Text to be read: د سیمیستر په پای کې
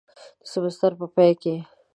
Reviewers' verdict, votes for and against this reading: accepted, 2, 0